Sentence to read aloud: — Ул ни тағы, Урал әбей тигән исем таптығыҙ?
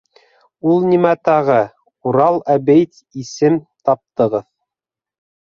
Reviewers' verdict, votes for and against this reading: rejected, 1, 2